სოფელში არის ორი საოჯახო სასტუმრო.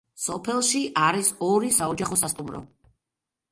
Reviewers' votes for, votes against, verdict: 1, 2, rejected